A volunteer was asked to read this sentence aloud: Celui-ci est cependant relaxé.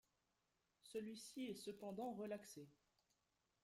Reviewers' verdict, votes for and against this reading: rejected, 1, 2